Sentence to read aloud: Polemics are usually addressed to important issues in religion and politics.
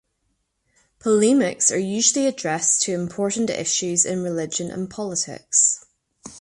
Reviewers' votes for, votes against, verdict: 2, 0, accepted